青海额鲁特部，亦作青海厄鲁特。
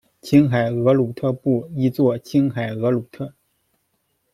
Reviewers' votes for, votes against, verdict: 2, 0, accepted